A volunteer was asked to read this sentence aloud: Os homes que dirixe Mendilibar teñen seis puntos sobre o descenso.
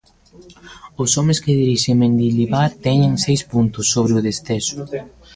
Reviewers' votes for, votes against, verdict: 0, 2, rejected